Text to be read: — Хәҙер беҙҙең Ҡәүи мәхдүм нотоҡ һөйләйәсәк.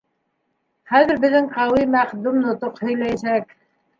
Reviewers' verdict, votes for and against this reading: rejected, 1, 2